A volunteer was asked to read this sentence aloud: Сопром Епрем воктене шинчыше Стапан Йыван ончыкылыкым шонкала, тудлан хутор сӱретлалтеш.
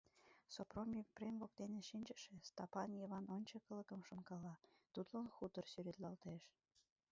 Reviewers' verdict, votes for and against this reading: rejected, 0, 2